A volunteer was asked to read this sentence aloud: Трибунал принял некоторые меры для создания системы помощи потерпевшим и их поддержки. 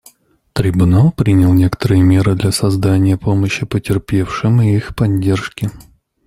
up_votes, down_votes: 1, 2